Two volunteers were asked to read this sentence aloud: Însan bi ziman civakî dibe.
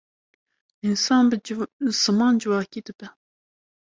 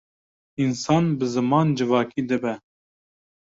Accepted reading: second